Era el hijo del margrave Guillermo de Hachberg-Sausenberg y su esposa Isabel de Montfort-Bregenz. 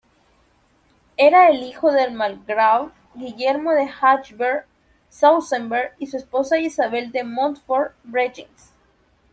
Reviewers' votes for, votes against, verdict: 1, 2, rejected